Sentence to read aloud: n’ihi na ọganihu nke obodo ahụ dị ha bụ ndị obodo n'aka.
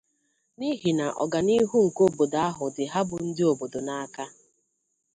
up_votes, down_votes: 2, 0